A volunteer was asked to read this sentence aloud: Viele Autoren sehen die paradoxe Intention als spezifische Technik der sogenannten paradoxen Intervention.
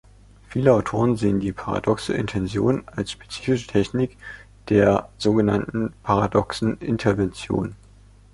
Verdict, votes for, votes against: accepted, 2, 0